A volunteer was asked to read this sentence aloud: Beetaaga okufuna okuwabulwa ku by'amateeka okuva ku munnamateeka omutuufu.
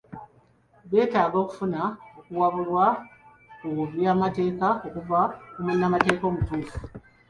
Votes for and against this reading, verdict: 0, 2, rejected